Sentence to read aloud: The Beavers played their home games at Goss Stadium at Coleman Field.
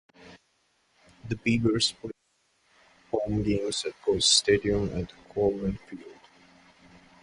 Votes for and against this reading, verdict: 0, 2, rejected